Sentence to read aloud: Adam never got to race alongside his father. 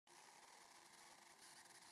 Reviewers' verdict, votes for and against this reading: rejected, 0, 2